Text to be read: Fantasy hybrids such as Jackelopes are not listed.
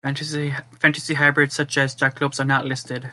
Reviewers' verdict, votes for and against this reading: rejected, 1, 3